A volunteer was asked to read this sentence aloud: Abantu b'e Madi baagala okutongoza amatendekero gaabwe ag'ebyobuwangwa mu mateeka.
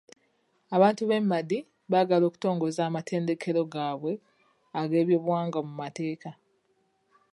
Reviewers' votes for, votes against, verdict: 2, 0, accepted